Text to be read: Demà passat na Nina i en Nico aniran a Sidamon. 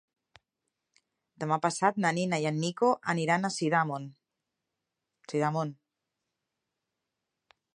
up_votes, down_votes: 0, 2